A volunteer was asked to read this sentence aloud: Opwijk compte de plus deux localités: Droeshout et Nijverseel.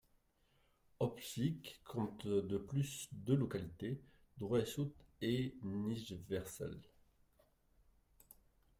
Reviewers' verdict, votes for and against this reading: rejected, 1, 2